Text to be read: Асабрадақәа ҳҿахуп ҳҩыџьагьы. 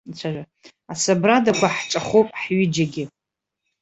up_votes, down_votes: 0, 2